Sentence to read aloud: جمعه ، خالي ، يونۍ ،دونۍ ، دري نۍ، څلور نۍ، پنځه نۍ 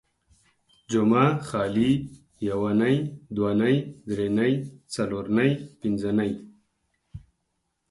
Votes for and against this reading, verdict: 4, 2, accepted